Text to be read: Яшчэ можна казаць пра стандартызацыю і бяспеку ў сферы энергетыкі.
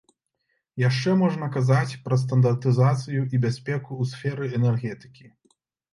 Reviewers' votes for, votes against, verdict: 2, 0, accepted